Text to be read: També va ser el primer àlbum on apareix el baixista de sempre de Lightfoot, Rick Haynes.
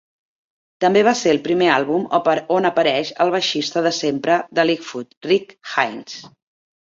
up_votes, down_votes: 0, 2